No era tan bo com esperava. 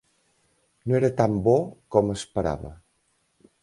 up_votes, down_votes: 2, 0